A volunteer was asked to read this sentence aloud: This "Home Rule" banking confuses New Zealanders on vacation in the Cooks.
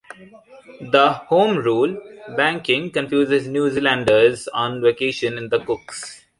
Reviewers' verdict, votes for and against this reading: rejected, 0, 2